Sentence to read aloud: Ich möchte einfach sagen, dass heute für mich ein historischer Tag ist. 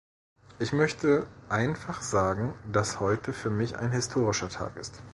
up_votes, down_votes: 2, 1